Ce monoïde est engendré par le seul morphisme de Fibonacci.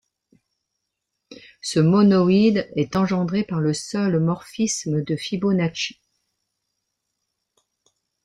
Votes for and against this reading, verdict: 2, 0, accepted